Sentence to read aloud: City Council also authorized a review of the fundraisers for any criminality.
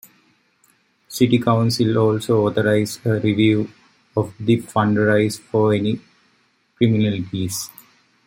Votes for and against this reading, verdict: 0, 2, rejected